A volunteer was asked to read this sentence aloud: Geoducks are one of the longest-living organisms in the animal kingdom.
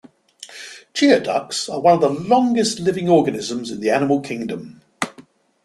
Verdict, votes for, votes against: accepted, 2, 0